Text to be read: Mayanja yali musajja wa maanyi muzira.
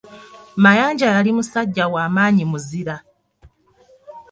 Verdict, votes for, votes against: accepted, 2, 0